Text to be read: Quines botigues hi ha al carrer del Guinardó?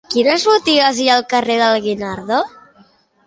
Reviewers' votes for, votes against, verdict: 2, 1, accepted